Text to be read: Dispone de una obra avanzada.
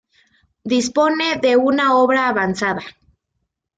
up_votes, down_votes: 2, 0